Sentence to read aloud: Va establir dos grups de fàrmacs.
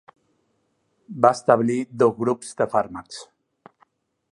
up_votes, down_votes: 1, 2